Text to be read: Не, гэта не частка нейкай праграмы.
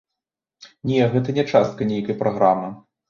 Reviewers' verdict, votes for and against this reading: accepted, 2, 1